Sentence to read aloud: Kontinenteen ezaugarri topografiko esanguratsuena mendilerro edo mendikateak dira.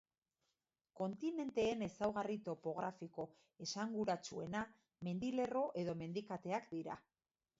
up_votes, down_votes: 3, 1